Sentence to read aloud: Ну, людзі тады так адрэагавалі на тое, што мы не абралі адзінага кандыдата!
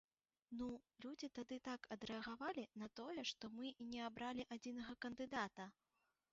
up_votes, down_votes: 3, 0